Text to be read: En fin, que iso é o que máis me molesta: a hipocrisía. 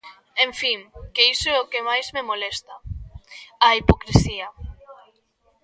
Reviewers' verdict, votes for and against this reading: accepted, 2, 1